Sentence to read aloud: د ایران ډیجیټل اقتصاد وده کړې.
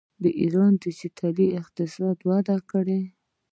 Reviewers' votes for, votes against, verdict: 1, 2, rejected